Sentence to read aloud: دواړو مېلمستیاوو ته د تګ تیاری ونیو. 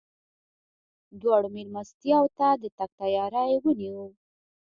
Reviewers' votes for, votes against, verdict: 1, 2, rejected